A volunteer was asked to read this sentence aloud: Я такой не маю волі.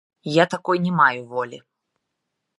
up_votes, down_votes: 0, 2